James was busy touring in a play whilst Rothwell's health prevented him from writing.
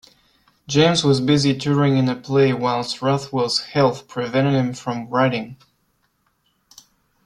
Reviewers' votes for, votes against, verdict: 2, 0, accepted